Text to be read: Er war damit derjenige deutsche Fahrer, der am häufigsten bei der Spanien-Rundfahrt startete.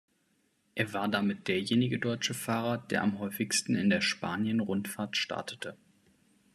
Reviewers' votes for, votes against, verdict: 1, 2, rejected